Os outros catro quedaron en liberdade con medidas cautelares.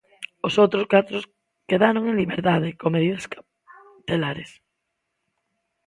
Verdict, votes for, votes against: rejected, 0, 3